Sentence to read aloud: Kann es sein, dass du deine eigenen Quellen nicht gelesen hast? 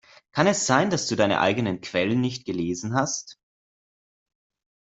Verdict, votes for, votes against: accepted, 2, 0